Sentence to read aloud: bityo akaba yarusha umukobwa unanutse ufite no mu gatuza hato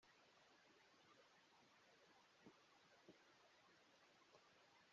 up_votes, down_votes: 0, 2